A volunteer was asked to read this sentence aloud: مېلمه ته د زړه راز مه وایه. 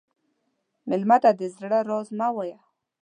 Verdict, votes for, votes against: accepted, 2, 0